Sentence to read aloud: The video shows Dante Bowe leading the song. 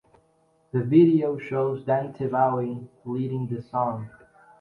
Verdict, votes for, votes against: accepted, 2, 0